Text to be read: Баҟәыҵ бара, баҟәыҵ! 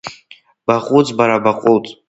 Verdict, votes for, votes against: accepted, 2, 1